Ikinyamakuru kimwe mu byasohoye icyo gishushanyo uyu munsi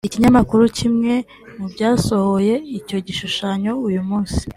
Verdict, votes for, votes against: accepted, 2, 0